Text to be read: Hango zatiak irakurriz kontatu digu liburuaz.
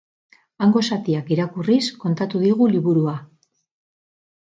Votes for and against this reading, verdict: 4, 2, accepted